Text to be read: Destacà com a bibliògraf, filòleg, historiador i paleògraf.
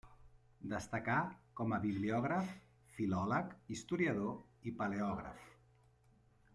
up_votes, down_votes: 3, 1